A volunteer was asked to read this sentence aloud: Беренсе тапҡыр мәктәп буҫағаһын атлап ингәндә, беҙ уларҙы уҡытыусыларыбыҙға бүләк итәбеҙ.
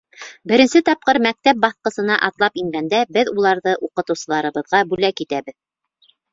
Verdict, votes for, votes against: rejected, 1, 2